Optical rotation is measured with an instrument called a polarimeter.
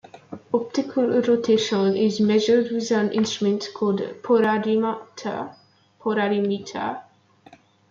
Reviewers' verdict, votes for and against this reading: rejected, 0, 2